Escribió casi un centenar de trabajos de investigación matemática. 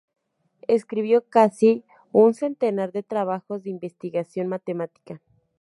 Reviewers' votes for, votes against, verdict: 2, 2, rejected